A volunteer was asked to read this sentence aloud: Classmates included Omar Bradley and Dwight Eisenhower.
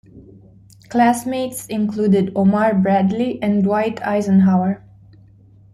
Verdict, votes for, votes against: accepted, 2, 0